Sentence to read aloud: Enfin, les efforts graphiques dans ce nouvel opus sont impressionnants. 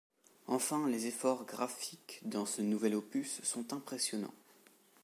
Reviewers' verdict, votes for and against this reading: accepted, 2, 0